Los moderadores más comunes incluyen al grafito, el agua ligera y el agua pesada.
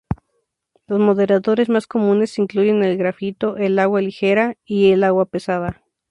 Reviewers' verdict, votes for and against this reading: rejected, 0, 2